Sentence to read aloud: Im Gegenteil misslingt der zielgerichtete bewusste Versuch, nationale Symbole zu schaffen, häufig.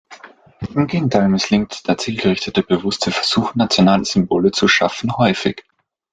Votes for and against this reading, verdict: 2, 0, accepted